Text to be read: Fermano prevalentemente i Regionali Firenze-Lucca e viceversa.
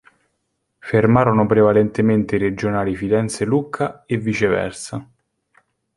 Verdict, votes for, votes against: rejected, 1, 2